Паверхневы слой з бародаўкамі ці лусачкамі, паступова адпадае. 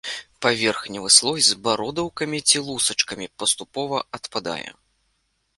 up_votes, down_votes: 2, 0